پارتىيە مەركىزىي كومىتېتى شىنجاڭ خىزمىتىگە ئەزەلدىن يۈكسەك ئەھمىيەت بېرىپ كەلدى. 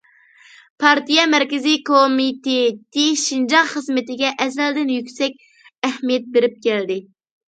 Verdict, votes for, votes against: accepted, 2, 0